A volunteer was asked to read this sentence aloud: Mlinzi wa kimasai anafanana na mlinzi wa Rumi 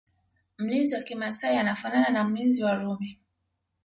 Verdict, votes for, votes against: accepted, 2, 0